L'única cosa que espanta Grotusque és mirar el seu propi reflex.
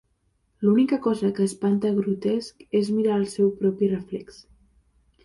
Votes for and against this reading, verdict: 0, 2, rejected